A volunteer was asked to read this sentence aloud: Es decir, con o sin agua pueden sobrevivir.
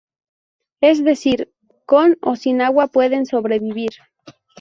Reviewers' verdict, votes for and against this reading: accepted, 2, 0